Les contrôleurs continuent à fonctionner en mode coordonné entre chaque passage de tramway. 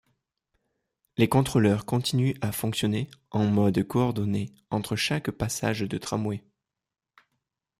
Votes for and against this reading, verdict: 2, 0, accepted